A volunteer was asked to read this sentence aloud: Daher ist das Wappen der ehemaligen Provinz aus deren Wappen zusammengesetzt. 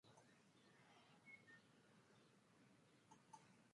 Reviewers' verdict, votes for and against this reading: rejected, 0, 2